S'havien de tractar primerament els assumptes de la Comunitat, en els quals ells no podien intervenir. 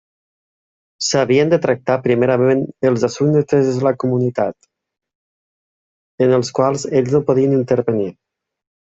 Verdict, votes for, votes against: rejected, 0, 3